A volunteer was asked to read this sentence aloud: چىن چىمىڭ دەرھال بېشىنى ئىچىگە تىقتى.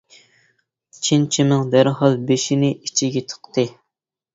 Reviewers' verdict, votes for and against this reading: accepted, 2, 0